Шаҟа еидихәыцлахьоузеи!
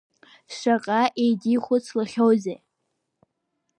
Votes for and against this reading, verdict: 4, 0, accepted